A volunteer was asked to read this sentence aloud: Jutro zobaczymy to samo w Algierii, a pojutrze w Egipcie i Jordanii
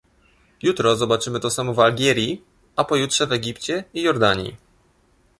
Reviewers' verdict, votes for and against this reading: accepted, 2, 0